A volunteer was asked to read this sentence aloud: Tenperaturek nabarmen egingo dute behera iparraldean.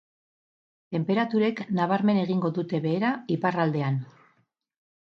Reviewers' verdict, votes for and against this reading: accepted, 4, 0